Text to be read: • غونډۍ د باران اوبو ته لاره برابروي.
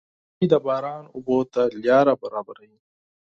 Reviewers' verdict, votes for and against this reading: accepted, 6, 0